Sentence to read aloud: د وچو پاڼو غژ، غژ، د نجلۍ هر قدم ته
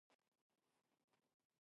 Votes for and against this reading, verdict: 0, 2, rejected